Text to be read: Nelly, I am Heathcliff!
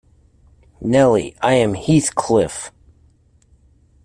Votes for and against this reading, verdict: 2, 0, accepted